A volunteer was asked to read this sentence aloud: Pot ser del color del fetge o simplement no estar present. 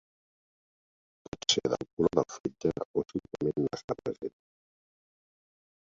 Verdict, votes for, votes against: rejected, 0, 2